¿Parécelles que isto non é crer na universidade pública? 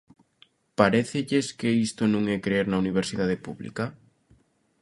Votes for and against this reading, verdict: 1, 2, rejected